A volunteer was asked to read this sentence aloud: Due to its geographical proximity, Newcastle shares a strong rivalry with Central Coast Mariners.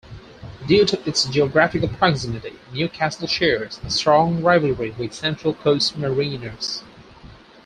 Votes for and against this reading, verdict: 4, 0, accepted